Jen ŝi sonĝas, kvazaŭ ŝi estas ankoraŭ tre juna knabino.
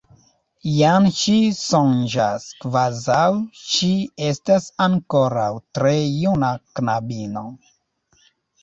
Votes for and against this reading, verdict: 1, 2, rejected